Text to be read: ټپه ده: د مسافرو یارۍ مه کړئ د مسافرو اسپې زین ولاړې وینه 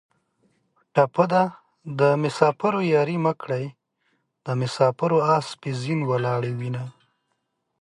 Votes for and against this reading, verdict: 2, 0, accepted